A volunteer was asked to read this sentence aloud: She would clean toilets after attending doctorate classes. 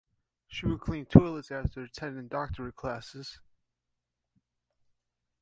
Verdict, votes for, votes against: rejected, 1, 2